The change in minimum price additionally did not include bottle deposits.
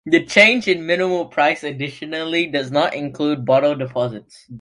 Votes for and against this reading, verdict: 2, 1, accepted